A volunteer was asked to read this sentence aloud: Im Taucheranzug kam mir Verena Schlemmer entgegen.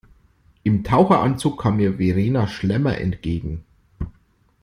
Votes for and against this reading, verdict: 2, 0, accepted